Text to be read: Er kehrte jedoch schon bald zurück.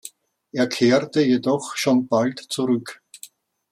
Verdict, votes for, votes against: accepted, 2, 0